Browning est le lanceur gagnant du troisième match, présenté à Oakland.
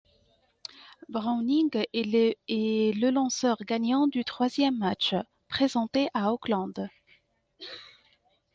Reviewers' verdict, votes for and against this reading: accepted, 2, 1